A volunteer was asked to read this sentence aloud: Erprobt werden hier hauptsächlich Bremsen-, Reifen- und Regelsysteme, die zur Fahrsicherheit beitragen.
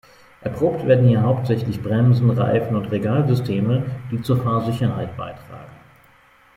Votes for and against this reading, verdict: 0, 2, rejected